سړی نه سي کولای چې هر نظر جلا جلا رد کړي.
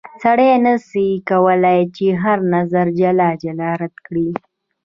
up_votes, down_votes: 1, 2